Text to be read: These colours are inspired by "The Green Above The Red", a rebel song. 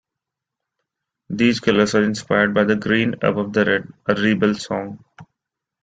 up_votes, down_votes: 2, 0